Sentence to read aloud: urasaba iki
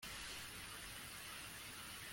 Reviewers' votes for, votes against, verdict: 0, 2, rejected